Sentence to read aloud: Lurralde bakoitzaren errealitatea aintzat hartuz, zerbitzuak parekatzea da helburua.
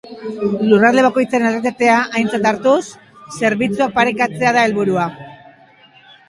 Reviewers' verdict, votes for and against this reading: rejected, 2, 3